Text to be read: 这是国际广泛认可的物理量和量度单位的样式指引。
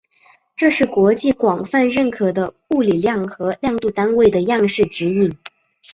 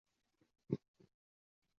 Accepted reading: first